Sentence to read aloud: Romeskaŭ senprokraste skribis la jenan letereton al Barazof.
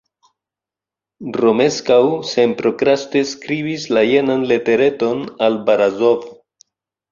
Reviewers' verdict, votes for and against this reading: accepted, 2, 0